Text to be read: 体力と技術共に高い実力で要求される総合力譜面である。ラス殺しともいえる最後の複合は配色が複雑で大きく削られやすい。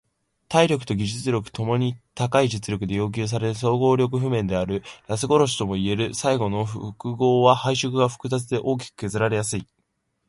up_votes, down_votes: 2, 1